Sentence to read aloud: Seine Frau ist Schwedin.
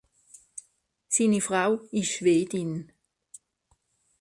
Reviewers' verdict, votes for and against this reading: rejected, 1, 2